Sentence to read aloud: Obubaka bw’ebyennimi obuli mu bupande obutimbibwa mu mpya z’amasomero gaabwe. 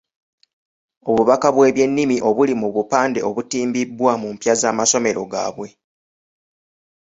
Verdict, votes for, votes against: accepted, 2, 0